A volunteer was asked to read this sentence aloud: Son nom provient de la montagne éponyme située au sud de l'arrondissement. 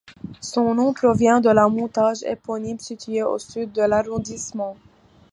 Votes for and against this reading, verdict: 1, 2, rejected